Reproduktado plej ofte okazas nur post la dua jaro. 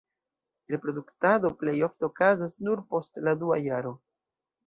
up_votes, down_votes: 2, 1